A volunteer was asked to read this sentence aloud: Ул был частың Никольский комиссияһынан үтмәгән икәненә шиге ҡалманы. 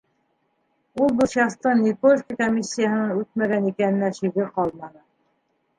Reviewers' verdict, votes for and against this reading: accepted, 2, 1